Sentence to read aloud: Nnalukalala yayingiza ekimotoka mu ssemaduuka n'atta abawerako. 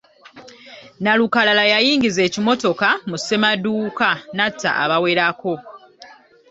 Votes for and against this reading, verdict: 2, 0, accepted